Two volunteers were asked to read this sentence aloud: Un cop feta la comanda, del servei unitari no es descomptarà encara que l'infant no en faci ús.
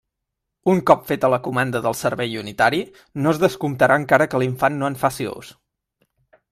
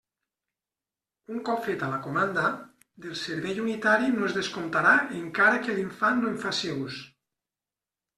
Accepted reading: second